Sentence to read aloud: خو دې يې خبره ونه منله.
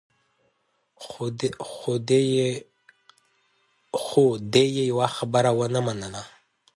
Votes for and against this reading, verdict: 0, 2, rejected